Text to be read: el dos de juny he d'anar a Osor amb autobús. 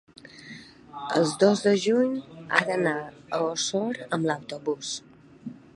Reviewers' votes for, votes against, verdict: 0, 2, rejected